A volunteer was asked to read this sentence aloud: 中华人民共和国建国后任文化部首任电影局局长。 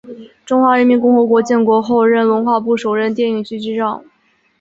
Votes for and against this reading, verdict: 4, 0, accepted